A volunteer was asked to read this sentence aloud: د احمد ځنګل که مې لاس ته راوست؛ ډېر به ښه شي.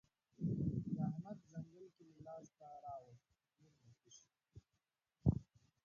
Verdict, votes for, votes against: rejected, 0, 4